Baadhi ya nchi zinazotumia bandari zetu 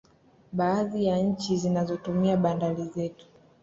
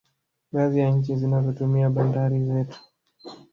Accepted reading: first